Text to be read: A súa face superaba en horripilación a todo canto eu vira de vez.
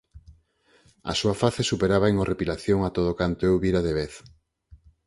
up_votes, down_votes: 4, 0